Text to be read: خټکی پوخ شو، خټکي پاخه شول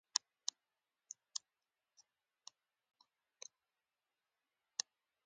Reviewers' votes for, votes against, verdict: 2, 1, accepted